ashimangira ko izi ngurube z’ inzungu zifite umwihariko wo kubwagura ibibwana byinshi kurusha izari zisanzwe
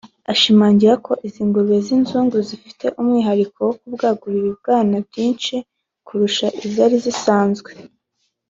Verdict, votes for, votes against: accepted, 2, 0